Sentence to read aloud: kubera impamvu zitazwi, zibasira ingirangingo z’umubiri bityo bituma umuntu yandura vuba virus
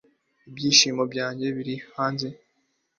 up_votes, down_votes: 1, 2